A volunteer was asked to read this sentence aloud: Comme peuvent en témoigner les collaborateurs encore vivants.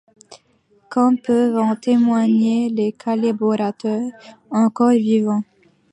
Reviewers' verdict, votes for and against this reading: rejected, 0, 2